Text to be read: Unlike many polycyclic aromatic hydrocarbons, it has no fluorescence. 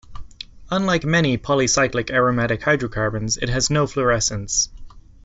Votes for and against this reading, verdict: 2, 0, accepted